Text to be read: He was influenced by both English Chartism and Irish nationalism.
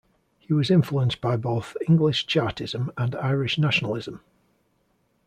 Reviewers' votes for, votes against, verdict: 2, 0, accepted